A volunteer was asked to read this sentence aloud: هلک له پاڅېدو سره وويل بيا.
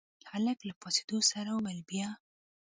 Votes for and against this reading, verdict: 1, 2, rejected